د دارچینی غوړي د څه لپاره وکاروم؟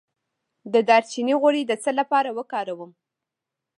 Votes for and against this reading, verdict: 2, 0, accepted